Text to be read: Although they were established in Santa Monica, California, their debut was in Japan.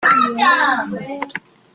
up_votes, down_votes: 0, 2